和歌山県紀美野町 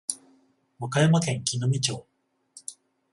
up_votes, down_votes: 14, 7